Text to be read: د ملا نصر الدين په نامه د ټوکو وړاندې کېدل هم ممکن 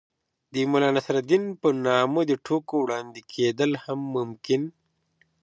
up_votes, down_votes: 2, 0